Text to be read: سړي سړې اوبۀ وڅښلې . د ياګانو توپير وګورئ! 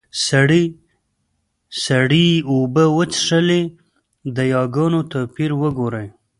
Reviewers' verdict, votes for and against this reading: accepted, 2, 1